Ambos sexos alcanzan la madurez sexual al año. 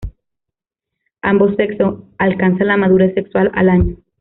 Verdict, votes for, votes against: rejected, 1, 2